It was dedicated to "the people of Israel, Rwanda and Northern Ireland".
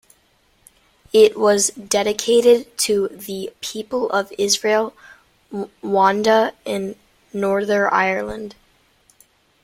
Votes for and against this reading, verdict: 0, 2, rejected